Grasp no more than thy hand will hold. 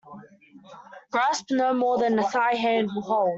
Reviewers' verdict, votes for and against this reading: rejected, 1, 2